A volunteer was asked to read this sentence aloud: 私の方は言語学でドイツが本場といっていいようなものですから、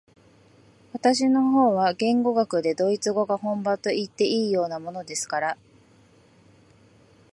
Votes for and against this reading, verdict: 0, 2, rejected